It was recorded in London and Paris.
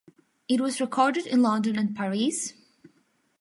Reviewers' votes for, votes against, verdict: 3, 0, accepted